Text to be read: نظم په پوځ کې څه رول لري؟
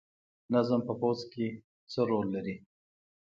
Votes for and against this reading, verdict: 2, 0, accepted